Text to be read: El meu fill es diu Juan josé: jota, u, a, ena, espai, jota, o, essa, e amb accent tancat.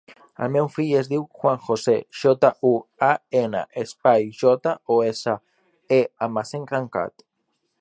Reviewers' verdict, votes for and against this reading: rejected, 0, 5